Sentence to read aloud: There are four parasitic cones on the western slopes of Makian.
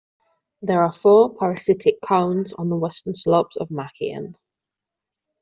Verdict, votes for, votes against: accepted, 2, 0